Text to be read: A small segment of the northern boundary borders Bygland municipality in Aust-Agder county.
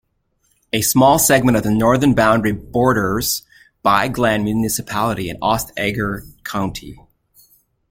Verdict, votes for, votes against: rejected, 0, 2